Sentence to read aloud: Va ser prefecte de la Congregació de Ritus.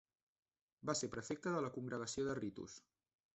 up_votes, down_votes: 1, 2